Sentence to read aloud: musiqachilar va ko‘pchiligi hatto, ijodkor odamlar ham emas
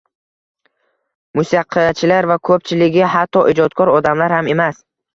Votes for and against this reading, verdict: 0, 2, rejected